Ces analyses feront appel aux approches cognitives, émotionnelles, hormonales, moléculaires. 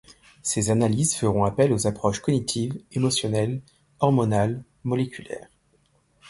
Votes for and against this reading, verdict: 2, 0, accepted